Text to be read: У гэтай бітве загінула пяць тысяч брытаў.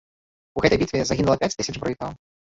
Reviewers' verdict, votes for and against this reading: rejected, 0, 2